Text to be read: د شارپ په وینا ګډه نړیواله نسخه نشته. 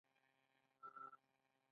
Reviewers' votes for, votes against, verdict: 2, 0, accepted